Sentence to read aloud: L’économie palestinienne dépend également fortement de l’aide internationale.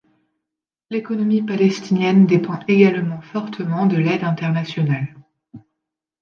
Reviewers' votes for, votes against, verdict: 2, 0, accepted